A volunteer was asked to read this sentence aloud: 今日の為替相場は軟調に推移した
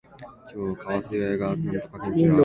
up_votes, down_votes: 0, 2